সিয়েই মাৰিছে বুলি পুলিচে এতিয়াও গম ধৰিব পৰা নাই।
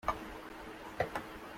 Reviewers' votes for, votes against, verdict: 0, 2, rejected